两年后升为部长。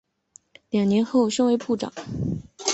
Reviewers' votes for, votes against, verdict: 6, 0, accepted